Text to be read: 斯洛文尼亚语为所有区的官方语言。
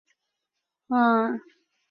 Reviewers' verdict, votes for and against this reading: rejected, 0, 2